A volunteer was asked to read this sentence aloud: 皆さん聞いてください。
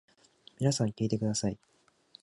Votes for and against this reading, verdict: 2, 0, accepted